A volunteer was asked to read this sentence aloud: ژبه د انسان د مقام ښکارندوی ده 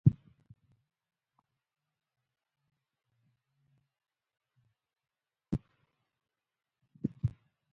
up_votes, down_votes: 0, 2